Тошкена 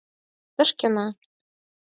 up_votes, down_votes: 4, 0